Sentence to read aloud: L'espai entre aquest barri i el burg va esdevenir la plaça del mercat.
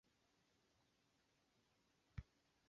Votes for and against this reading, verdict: 0, 2, rejected